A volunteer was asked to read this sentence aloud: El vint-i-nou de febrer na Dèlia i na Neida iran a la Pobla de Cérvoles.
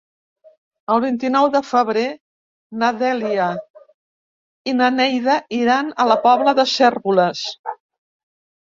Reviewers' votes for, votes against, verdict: 0, 2, rejected